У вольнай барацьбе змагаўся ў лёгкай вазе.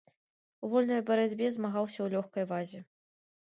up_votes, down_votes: 1, 2